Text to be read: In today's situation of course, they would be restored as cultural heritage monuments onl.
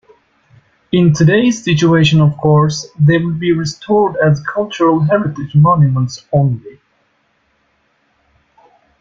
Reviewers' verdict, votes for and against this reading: rejected, 0, 2